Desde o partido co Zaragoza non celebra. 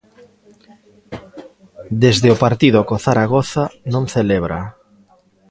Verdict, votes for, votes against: rejected, 0, 2